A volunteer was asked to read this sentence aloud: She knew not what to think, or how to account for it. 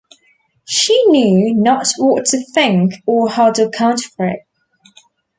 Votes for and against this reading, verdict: 2, 1, accepted